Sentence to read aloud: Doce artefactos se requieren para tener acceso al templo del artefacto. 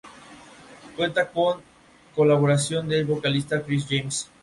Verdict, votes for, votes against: rejected, 0, 2